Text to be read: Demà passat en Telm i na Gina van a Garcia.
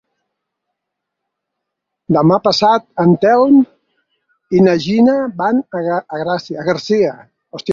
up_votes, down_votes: 2, 4